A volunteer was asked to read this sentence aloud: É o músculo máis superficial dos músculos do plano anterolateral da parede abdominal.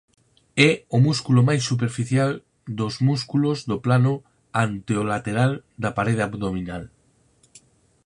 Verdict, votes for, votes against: rejected, 0, 4